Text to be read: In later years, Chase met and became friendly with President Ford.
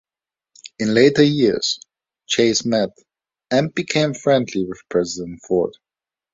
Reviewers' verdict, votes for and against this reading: accepted, 2, 0